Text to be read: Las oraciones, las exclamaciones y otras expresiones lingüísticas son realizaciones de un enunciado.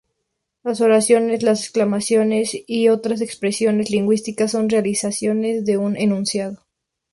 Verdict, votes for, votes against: accepted, 2, 0